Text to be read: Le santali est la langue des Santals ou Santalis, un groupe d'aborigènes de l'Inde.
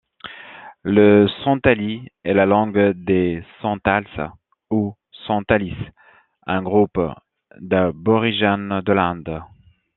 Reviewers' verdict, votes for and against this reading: accepted, 2, 0